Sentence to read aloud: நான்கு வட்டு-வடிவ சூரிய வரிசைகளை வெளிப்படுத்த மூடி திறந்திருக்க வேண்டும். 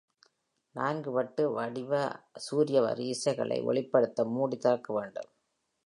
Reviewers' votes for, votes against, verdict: 1, 2, rejected